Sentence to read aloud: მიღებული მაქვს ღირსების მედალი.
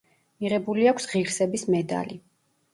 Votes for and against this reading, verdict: 1, 2, rejected